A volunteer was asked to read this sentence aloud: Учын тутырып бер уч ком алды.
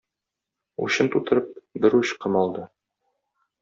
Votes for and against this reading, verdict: 1, 2, rejected